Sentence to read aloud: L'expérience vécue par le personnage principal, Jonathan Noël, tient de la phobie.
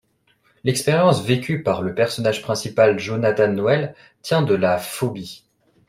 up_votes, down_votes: 2, 0